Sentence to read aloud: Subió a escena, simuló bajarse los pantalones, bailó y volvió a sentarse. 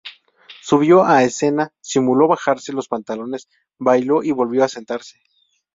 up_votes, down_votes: 2, 0